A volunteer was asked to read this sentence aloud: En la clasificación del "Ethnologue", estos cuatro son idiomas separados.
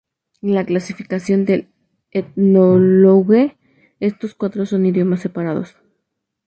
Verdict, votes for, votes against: accepted, 2, 0